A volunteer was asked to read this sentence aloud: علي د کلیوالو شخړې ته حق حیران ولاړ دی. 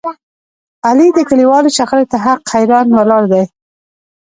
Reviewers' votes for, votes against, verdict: 1, 2, rejected